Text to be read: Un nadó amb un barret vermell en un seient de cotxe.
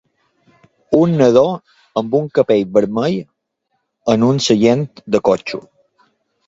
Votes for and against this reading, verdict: 2, 1, accepted